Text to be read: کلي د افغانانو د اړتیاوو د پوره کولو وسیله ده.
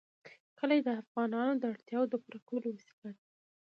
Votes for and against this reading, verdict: 2, 0, accepted